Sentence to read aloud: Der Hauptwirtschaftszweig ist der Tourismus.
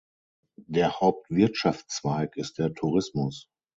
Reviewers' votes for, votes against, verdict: 6, 0, accepted